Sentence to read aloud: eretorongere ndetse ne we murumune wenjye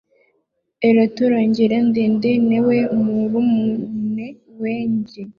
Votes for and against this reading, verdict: 0, 2, rejected